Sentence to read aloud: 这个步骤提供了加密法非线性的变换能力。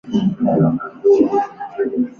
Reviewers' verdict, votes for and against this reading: rejected, 1, 3